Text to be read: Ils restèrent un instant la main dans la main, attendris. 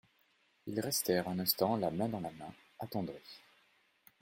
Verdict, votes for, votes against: accepted, 2, 0